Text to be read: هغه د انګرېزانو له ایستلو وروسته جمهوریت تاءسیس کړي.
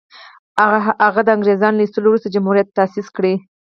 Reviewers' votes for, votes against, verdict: 4, 0, accepted